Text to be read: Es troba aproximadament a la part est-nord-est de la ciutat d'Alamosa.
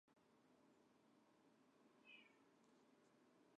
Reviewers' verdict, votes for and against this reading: rejected, 1, 3